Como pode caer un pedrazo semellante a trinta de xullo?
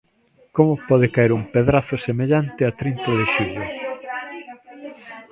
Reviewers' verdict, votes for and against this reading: rejected, 1, 2